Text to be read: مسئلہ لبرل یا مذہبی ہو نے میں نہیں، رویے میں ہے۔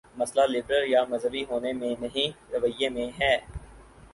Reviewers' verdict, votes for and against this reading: rejected, 2, 4